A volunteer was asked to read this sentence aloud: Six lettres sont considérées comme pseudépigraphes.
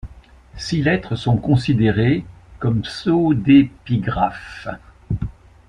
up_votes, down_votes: 0, 2